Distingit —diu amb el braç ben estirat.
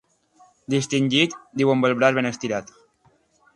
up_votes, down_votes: 3, 0